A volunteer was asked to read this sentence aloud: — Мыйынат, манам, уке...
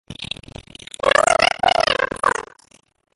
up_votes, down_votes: 0, 2